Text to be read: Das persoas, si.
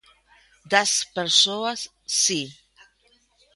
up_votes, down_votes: 1, 2